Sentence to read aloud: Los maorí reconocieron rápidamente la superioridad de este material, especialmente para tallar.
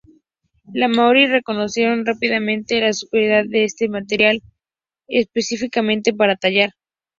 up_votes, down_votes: 2, 0